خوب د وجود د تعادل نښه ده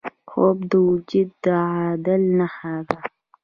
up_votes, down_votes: 1, 2